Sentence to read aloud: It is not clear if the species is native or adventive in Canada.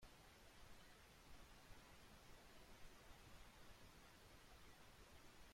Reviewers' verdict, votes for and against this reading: rejected, 0, 3